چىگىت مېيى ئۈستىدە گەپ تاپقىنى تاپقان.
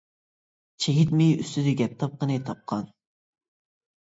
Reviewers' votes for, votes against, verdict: 2, 0, accepted